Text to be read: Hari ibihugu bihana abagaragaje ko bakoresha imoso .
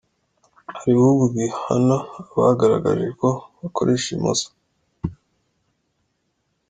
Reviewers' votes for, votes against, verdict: 2, 0, accepted